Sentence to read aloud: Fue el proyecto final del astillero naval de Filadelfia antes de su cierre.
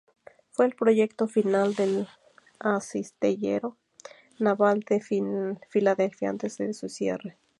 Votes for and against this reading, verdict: 0, 2, rejected